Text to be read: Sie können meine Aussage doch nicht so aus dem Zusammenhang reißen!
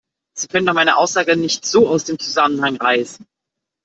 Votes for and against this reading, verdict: 1, 2, rejected